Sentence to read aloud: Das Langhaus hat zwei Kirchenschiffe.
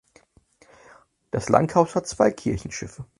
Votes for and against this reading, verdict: 4, 0, accepted